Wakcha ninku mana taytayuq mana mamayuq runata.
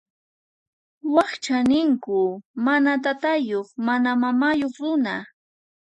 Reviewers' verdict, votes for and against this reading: rejected, 2, 4